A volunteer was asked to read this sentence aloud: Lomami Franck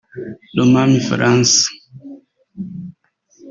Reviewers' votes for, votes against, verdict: 1, 2, rejected